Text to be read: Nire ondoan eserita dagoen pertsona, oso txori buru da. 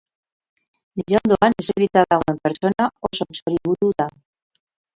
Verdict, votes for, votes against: rejected, 0, 4